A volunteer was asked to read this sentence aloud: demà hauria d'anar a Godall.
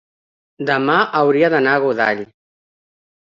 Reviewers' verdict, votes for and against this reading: accepted, 3, 0